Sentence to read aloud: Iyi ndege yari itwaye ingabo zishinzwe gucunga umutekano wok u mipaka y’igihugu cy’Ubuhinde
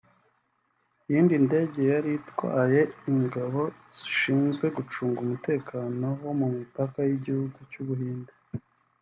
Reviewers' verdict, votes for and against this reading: rejected, 1, 2